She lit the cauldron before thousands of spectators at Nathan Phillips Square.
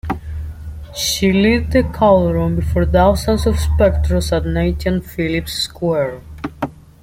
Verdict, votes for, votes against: accepted, 2, 0